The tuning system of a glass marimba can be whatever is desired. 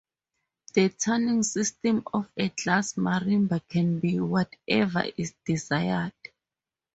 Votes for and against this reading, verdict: 2, 0, accepted